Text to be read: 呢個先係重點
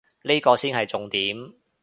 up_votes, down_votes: 2, 0